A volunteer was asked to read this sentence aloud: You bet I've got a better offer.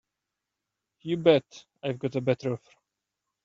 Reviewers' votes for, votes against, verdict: 1, 3, rejected